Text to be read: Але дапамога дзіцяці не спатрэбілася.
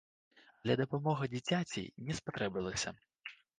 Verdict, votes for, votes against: rejected, 0, 3